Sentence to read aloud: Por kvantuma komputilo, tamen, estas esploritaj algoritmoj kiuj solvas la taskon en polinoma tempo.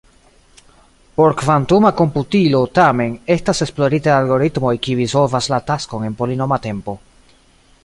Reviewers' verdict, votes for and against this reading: accepted, 2, 0